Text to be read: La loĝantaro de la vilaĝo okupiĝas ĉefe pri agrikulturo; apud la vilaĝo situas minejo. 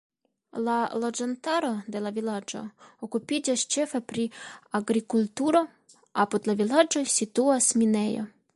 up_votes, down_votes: 2, 1